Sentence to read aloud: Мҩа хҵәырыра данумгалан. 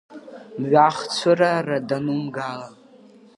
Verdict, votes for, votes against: rejected, 0, 2